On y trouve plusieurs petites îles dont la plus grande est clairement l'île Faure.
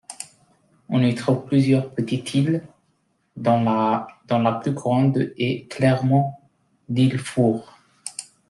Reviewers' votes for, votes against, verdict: 0, 2, rejected